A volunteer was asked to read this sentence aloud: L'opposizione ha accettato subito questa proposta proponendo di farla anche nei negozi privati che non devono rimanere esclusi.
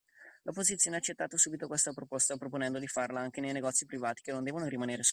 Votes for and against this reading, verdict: 0, 2, rejected